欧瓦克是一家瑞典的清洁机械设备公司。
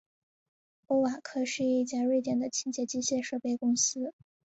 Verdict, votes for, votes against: accepted, 3, 0